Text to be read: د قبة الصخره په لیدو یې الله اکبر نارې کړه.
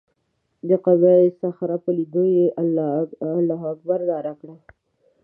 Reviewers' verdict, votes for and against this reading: rejected, 0, 2